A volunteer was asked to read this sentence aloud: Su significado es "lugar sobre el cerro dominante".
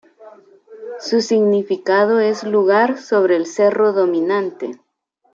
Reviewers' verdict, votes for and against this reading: rejected, 0, 2